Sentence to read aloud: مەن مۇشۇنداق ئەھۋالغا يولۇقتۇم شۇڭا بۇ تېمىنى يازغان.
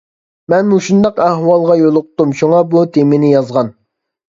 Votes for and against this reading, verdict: 2, 0, accepted